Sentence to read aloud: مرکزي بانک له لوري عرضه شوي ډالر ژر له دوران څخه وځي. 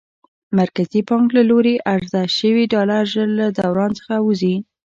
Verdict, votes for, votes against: rejected, 2, 3